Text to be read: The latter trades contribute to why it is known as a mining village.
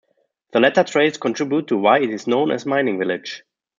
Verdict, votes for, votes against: rejected, 1, 2